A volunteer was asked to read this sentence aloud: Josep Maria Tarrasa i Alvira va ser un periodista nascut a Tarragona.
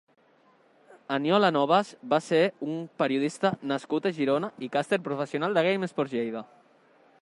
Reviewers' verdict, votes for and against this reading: rejected, 0, 2